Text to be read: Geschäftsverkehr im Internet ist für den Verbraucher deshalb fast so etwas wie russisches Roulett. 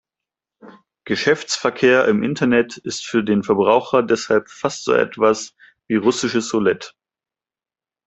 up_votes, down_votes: 2, 0